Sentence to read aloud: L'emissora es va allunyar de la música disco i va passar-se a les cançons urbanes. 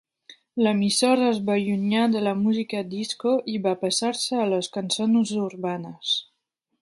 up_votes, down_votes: 2, 0